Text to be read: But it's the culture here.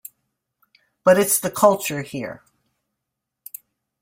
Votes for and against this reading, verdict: 2, 1, accepted